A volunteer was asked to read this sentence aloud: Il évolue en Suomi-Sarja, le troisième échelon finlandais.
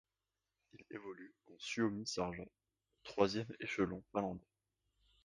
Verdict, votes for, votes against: rejected, 0, 2